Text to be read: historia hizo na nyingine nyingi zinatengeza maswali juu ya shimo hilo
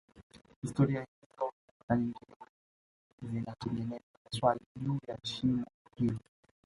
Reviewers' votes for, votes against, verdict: 2, 1, accepted